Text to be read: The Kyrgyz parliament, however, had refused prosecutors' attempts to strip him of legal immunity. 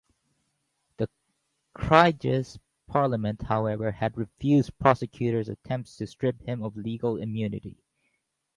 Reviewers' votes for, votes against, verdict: 2, 2, rejected